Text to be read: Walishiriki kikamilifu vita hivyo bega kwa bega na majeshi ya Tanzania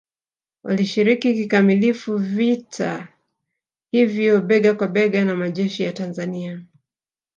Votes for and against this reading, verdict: 2, 1, accepted